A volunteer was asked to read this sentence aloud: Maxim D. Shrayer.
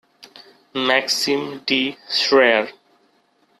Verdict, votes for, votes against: accepted, 2, 0